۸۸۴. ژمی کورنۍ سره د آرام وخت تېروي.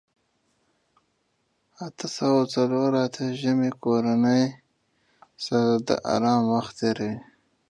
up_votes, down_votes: 0, 2